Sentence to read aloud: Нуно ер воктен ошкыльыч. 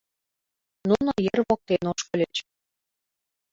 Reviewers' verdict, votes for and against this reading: accepted, 2, 0